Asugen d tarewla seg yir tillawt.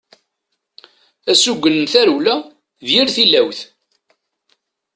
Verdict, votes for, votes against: rejected, 1, 2